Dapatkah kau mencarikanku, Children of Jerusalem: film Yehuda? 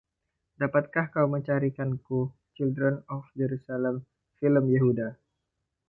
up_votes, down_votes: 2, 0